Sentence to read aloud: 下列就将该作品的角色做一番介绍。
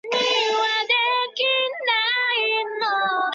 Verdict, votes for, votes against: rejected, 0, 3